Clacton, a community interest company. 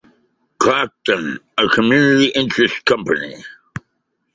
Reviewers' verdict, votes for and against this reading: accepted, 2, 0